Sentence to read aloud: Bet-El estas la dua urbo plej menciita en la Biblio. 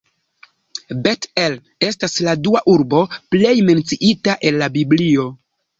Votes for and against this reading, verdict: 0, 2, rejected